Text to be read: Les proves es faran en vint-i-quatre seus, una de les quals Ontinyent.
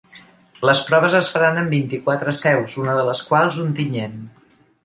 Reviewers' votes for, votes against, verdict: 2, 0, accepted